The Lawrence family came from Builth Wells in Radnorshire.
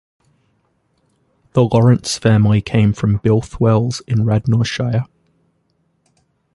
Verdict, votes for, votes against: rejected, 0, 2